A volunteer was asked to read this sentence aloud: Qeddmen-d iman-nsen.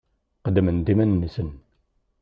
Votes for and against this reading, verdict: 2, 0, accepted